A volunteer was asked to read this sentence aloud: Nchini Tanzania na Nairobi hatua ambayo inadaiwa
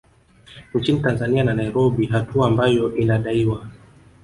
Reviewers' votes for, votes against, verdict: 2, 3, rejected